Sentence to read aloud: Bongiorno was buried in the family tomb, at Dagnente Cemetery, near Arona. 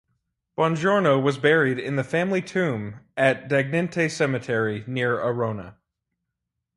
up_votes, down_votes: 4, 0